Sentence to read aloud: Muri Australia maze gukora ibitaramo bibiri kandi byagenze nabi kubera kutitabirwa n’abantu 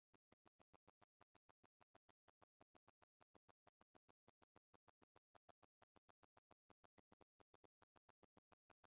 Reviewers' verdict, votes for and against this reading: rejected, 1, 2